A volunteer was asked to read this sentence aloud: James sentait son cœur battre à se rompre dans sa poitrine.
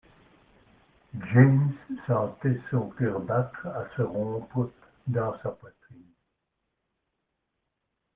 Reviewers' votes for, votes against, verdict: 1, 2, rejected